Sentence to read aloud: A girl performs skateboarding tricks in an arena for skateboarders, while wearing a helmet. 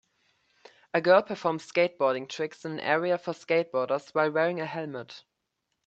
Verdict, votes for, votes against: rejected, 0, 2